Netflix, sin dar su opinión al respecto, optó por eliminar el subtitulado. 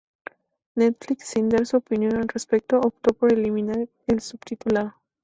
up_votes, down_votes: 0, 2